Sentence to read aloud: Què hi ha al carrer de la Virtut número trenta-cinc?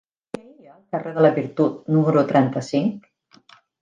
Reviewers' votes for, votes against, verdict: 0, 2, rejected